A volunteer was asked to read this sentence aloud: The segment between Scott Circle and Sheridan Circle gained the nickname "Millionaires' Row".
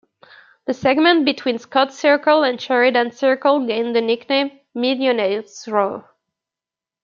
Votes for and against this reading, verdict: 2, 1, accepted